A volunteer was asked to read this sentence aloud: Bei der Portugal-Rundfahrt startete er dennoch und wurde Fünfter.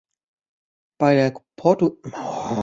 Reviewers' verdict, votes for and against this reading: rejected, 0, 2